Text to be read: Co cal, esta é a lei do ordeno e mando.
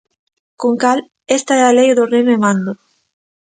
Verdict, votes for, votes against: rejected, 1, 2